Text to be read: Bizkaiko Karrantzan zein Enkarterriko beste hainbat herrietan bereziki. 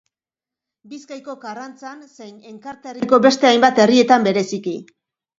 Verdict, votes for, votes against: rejected, 1, 2